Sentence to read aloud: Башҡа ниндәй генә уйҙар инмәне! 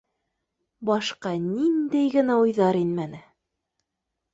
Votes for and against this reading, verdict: 2, 1, accepted